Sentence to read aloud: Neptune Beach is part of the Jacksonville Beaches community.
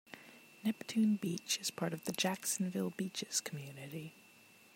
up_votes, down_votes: 0, 2